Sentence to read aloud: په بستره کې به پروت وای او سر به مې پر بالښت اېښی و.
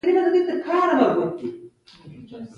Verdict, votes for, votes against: rejected, 0, 2